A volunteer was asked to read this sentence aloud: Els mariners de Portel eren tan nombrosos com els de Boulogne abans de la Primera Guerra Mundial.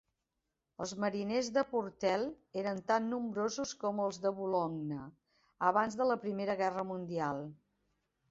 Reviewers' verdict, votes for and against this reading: accepted, 2, 0